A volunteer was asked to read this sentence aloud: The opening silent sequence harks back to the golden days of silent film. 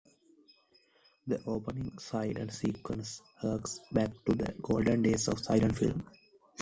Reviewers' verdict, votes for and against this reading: accepted, 2, 1